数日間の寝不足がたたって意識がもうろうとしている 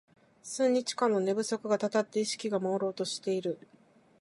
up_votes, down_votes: 0, 2